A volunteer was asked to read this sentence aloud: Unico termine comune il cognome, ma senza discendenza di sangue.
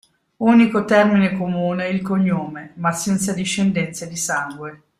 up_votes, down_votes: 2, 0